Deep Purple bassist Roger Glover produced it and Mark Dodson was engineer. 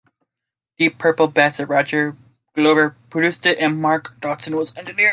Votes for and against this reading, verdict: 2, 0, accepted